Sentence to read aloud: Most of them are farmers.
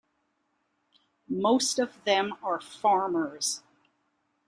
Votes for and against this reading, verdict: 2, 0, accepted